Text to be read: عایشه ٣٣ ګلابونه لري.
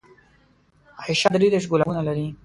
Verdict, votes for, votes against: rejected, 0, 2